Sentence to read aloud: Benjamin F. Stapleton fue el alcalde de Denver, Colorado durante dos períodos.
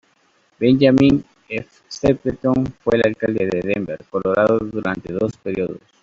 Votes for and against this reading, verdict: 1, 2, rejected